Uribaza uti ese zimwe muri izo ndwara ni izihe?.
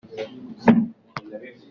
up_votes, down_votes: 0, 2